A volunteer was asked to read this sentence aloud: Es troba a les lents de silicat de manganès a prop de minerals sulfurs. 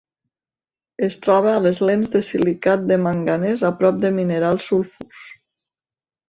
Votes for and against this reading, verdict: 3, 0, accepted